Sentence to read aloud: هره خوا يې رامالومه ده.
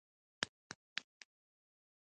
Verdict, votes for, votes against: rejected, 0, 2